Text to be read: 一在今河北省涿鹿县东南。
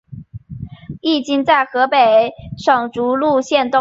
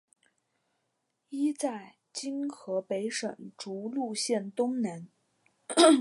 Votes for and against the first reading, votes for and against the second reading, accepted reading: 1, 4, 3, 0, second